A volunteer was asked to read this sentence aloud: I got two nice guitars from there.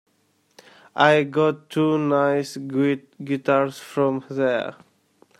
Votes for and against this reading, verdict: 1, 2, rejected